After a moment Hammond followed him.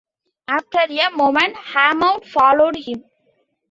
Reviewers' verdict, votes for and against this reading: accepted, 2, 0